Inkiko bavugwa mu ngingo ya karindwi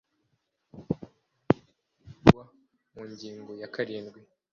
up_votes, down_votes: 0, 2